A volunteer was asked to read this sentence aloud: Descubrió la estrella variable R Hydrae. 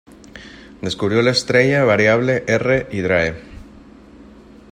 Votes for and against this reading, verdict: 1, 2, rejected